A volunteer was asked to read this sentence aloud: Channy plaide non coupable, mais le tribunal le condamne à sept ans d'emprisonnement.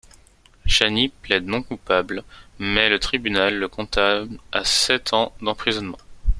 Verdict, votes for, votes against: rejected, 1, 2